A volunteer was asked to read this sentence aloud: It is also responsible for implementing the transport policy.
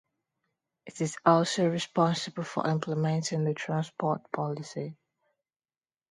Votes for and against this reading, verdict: 2, 0, accepted